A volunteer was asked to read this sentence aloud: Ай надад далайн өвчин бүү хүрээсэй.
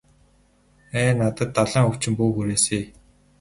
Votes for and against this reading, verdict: 0, 2, rejected